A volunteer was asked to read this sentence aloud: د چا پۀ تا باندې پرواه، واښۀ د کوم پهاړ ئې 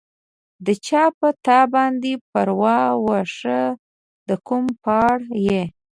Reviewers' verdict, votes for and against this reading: accepted, 2, 0